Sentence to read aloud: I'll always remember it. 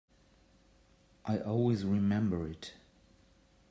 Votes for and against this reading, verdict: 1, 2, rejected